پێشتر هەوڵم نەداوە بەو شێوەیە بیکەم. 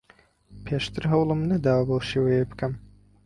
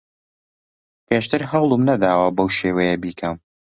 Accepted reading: second